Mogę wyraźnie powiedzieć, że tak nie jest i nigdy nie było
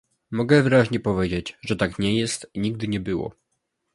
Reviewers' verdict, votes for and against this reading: accepted, 2, 0